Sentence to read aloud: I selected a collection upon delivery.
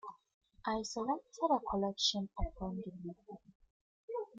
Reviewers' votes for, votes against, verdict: 1, 2, rejected